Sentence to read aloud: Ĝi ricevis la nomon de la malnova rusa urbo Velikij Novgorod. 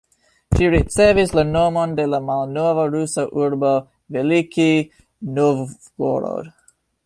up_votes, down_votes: 1, 2